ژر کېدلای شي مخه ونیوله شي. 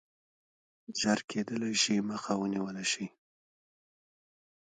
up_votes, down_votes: 1, 2